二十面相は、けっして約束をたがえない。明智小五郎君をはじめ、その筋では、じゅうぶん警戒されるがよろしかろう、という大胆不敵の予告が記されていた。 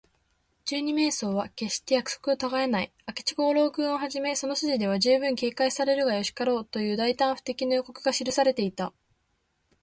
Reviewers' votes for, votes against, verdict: 0, 2, rejected